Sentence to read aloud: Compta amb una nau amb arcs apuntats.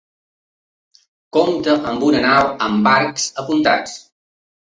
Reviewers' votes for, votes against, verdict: 3, 1, accepted